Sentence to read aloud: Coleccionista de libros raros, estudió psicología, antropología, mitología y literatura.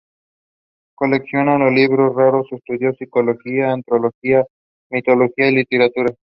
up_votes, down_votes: 0, 2